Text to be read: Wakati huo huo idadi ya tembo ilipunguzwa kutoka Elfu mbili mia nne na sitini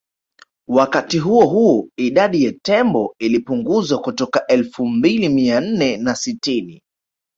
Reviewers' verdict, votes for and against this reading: rejected, 1, 2